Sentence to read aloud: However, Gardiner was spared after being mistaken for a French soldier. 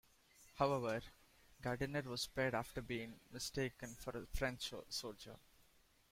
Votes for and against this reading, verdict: 1, 2, rejected